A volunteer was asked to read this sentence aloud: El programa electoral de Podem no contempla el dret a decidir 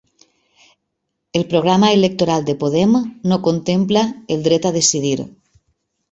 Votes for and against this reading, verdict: 4, 0, accepted